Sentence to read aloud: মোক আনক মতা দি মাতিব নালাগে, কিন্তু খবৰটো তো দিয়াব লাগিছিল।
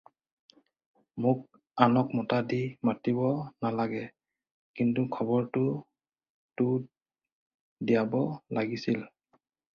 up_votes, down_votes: 4, 0